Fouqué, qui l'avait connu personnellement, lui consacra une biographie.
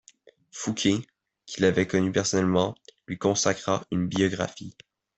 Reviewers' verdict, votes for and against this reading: accepted, 2, 0